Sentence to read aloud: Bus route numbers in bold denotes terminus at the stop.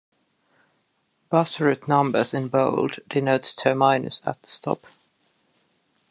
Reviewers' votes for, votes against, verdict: 1, 2, rejected